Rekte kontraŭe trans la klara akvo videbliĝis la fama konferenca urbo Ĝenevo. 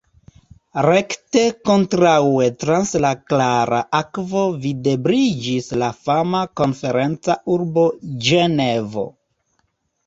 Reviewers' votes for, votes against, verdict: 2, 0, accepted